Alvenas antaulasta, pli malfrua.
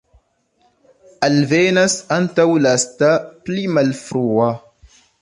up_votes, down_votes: 2, 0